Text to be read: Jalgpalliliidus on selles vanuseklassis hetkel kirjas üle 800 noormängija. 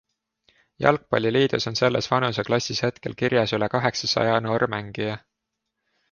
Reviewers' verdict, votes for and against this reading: rejected, 0, 2